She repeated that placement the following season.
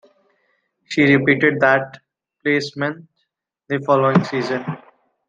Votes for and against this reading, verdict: 2, 1, accepted